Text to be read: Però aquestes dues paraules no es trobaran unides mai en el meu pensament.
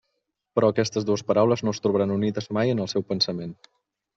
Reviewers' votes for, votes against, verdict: 1, 2, rejected